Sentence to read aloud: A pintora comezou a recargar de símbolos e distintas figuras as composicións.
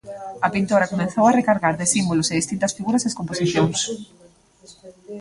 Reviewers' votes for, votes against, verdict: 0, 2, rejected